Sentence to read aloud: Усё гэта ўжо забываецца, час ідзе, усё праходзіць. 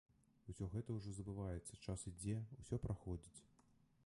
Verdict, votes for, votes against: rejected, 1, 2